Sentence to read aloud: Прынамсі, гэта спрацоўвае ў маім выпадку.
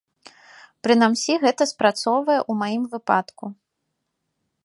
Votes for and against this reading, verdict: 1, 2, rejected